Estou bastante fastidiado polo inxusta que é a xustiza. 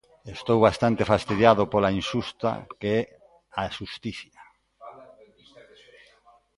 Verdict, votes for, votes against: rejected, 0, 2